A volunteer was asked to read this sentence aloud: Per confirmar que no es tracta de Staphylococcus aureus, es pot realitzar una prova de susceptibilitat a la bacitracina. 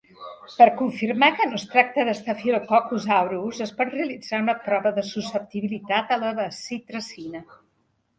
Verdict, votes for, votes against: accepted, 2, 1